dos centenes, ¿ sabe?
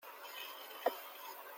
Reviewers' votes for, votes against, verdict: 0, 2, rejected